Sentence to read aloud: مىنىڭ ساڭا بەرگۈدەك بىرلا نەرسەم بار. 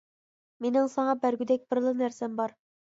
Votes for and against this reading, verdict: 2, 0, accepted